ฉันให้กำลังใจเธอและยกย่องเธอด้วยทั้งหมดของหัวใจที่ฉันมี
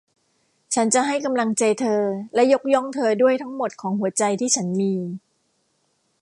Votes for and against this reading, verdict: 0, 2, rejected